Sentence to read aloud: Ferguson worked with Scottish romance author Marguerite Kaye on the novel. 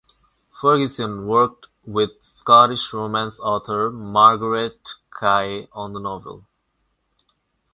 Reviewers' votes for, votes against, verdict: 4, 0, accepted